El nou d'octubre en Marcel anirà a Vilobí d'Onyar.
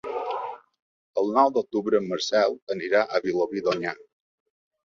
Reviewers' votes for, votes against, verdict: 2, 0, accepted